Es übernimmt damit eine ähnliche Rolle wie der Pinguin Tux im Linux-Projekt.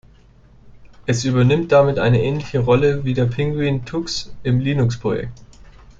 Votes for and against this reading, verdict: 2, 0, accepted